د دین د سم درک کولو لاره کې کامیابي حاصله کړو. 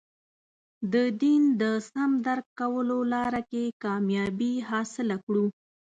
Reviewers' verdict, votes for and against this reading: accepted, 2, 0